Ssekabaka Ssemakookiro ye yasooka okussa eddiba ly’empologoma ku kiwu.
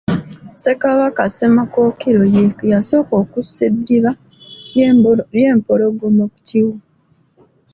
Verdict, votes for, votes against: rejected, 1, 2